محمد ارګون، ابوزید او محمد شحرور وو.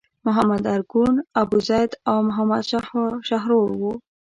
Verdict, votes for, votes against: rejected, 0, 2